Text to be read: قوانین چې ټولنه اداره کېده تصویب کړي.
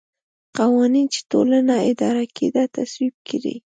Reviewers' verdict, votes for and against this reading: accepted, 2, 0